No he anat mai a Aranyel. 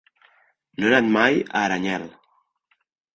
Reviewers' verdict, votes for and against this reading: rejected, 1, 2